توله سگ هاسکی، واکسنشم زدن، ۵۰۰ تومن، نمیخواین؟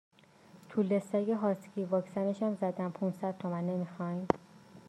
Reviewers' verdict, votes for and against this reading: rejected, 0, 2